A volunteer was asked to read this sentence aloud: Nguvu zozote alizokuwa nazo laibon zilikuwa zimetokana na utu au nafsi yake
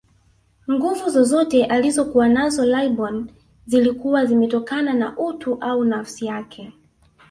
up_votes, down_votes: 1, 2